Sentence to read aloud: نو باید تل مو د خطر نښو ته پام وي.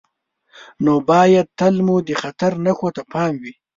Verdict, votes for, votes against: rejected, 0, 2